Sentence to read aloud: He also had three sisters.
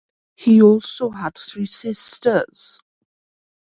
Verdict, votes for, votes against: rejected, 0, 2